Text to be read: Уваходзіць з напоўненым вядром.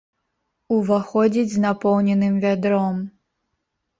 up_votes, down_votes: 2, 0